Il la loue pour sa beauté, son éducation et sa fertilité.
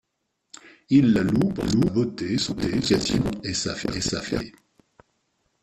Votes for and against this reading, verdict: 1, 2, rejected